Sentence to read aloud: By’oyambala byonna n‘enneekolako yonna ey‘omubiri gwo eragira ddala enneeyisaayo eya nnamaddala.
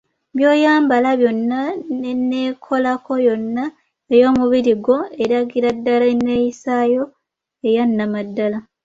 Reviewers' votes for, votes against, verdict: 2, 0, accepted